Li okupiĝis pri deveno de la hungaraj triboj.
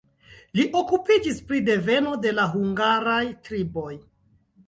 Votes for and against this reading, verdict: 2, 0, accepted